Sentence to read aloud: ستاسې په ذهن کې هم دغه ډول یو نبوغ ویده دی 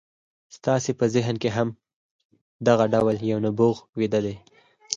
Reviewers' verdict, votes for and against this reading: accepted, 4, 0